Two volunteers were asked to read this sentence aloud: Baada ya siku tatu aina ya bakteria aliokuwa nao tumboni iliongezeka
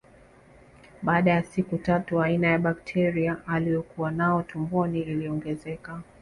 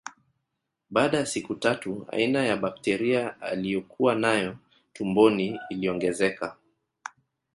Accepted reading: first